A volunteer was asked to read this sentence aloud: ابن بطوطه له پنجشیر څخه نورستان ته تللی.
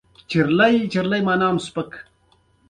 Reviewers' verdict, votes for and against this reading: rejected, 1, 2